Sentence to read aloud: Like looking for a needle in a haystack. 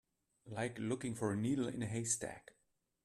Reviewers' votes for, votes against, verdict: 2, 0, accepted